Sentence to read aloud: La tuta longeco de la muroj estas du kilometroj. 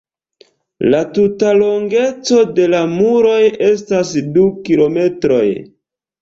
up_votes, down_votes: 1, 2